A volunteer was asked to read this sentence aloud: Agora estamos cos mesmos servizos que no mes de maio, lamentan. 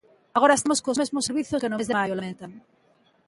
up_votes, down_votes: 0, 2